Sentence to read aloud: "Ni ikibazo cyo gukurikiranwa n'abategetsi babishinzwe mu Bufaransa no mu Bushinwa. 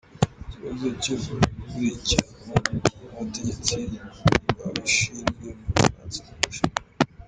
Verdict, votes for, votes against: rejected, 0, 2